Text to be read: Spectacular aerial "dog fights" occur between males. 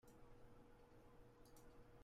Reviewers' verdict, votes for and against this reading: rejected, 0, 2